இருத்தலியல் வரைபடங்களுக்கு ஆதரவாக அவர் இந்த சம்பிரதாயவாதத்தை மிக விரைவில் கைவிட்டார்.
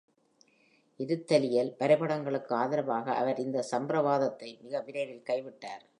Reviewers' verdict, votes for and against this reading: rejected, 0, 2